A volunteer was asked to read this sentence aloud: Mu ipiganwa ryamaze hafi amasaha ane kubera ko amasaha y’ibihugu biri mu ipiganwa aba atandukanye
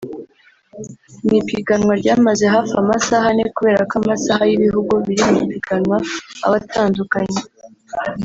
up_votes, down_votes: 1, 2